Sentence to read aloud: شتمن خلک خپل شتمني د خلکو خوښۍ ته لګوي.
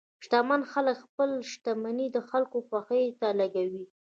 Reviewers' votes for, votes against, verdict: 1, 2, rejected